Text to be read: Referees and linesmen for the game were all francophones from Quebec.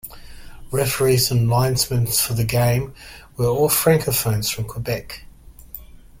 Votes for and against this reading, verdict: 1, 2, rejected